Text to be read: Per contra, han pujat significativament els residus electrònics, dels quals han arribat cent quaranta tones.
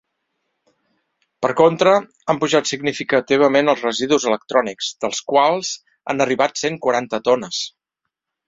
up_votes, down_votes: 3, 0